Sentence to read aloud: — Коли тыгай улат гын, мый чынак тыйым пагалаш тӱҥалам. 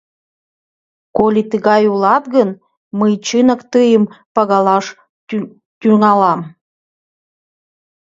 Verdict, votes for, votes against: rejected, 0, 2